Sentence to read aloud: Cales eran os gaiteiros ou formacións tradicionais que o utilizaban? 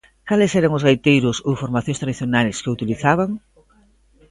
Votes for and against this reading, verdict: 2, 0, accepted